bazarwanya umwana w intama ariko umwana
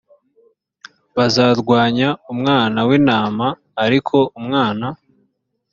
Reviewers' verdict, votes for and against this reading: accepted, 4, 0